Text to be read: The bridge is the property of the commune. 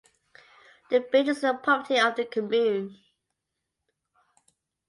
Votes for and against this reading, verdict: 0, 2, rejected